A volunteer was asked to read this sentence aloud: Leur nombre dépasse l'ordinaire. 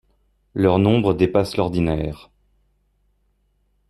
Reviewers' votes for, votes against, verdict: 2, 0, accepted